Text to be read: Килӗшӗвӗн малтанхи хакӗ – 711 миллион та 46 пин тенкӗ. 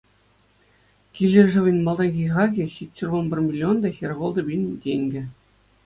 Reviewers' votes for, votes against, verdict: 0, 2, rejected